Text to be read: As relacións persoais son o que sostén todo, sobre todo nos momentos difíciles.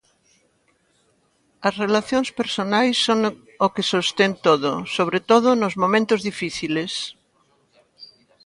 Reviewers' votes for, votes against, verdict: 0, 2, rejected